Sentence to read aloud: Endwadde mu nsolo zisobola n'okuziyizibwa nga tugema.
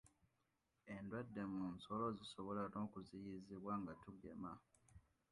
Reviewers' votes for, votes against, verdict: 1, 2, rejected